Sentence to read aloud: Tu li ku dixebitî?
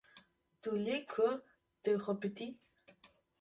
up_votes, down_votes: 1, 2